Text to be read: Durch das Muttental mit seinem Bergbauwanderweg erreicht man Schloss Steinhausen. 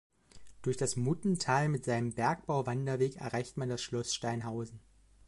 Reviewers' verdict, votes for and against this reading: accepted, 2, 0